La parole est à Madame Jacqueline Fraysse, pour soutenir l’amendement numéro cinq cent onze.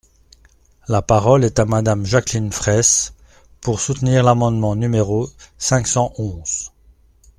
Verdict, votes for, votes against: accepted, 2, 0